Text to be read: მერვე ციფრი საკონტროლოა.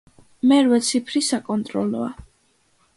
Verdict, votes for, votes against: accepted, 2, 0